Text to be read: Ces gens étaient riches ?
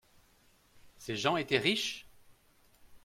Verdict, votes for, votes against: accepted, 2, 0